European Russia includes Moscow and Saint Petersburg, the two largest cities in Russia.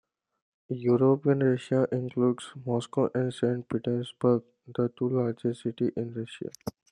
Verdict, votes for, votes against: rejected, 1, 2